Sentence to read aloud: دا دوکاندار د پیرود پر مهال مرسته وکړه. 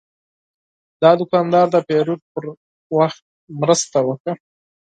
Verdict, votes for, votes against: rejected, 2, 4